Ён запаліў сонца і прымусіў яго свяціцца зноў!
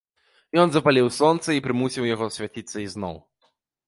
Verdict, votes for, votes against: rejected, 1, 2